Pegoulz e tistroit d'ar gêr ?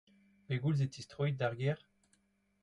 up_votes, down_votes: 2, 0